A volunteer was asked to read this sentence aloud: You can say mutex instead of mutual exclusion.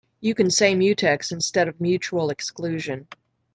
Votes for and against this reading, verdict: 2, 0, accepted